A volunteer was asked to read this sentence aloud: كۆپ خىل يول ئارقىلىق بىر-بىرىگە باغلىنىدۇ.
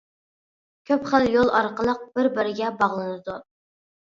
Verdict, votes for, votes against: accepted, 2, 0